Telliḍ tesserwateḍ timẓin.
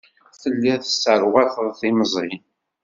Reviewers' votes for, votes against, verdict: 2, 0, accepted